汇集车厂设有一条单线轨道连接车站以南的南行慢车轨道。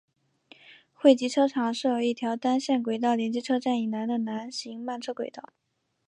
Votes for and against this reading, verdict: 2, 0, accepted